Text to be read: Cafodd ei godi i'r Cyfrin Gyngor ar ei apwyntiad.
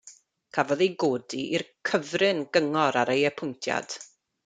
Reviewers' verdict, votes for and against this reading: accepted, 2, 0